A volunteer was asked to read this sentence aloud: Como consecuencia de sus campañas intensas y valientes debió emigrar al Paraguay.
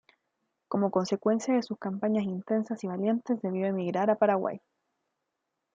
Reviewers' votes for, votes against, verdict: 0, 2, rejected